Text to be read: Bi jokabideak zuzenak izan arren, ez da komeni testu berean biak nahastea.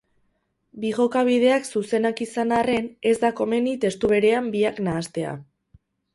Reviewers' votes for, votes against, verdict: 2, 2, rejected